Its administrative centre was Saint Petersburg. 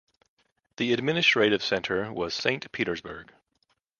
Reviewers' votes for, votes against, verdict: 1, 2, rejected